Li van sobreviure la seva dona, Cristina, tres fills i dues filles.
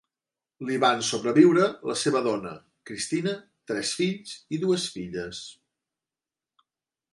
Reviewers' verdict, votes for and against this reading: accepted, 3, 0